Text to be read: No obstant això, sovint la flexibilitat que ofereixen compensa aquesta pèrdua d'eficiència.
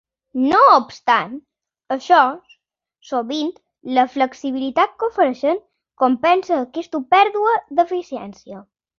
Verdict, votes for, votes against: accepted, 3, 0